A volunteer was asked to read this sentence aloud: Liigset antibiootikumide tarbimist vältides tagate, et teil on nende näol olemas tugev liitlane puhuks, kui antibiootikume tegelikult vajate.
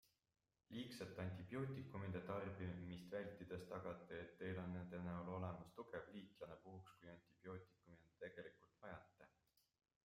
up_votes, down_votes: 1, 2